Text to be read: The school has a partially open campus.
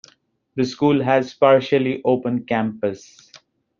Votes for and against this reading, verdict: 1, 2, rejected